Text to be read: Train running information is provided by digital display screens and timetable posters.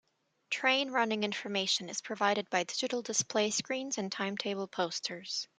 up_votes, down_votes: 2, 0